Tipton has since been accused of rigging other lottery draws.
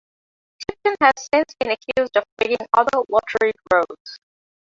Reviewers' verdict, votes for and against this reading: rejected, 1, 2